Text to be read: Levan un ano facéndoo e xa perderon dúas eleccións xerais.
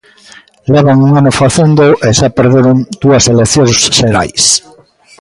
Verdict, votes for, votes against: rejected, 1, 2